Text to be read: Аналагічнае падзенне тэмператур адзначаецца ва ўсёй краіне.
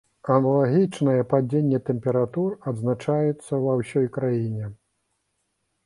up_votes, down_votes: 2, 0